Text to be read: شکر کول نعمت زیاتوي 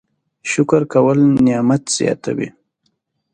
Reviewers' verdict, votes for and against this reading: accepted, 2, 0